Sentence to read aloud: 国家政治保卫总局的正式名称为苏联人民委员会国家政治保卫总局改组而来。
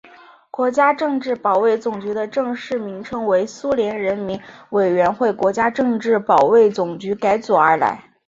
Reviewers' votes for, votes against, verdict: 3, 2, accepted